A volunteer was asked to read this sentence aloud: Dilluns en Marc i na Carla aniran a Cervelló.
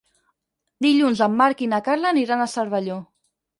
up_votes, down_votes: 6, 0